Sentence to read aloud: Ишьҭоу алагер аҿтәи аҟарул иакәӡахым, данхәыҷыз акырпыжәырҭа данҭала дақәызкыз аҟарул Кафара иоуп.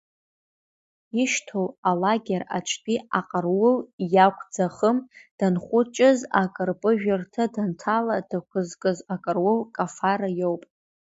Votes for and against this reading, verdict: 0, 2, rejected